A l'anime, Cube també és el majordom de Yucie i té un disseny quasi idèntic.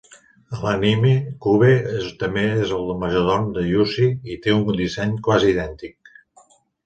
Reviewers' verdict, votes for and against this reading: rejected, 1, 2